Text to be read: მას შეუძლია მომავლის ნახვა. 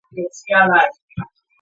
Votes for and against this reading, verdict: 0, 2, rejected